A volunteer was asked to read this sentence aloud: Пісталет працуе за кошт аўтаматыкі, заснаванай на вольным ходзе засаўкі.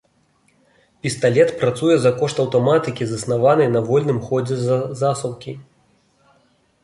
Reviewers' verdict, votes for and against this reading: rejected, 0, 2